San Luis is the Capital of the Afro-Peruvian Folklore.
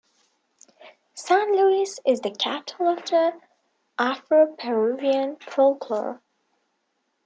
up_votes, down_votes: 0, 2